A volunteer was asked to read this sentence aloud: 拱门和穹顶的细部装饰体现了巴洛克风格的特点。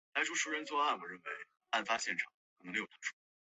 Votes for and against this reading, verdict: 0, 2, rejected